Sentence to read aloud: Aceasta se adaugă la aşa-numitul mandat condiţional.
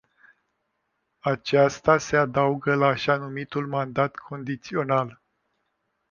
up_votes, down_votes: 2, 0